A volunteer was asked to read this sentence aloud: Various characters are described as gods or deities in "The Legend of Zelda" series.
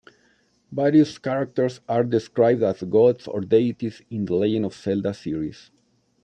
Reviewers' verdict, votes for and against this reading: accepted, 2, 0